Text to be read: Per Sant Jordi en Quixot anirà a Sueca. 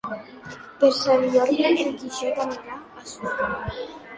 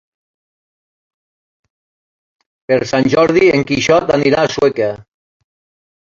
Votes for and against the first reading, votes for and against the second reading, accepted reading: 0, 2, 3, 1, second